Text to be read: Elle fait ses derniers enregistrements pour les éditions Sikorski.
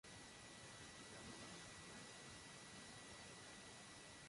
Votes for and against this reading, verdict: 0, 2, rejected